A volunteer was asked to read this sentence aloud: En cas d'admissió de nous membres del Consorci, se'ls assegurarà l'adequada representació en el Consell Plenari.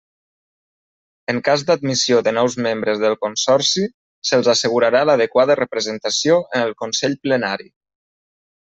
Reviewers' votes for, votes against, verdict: 3, 0, accepted